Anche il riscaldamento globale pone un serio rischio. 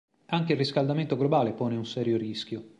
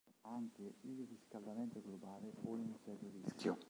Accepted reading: first